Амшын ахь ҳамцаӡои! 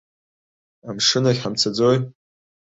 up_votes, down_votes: 4, 0